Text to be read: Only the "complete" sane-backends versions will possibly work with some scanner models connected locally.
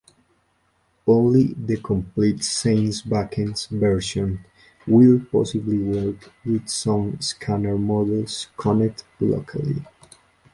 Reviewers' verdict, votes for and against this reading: rejected, 0, 2